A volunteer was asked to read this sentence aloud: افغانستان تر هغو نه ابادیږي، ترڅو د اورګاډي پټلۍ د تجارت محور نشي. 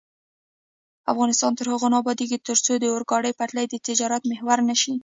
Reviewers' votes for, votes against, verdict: 0, 2, rejected